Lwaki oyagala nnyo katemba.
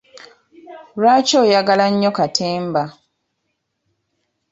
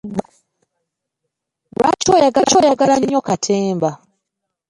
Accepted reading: first